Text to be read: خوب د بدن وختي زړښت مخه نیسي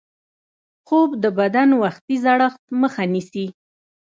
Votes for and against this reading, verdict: 1, 2, rejected